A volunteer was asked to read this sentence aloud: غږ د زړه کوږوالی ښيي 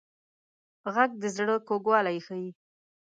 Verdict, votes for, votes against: accepted, 2, 0